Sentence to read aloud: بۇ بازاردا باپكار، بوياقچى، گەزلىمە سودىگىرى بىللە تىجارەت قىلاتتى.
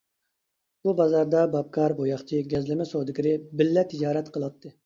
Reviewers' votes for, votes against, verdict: 2, 0, accepted